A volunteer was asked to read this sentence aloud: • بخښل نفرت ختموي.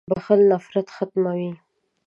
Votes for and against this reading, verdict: 3, 0, accepted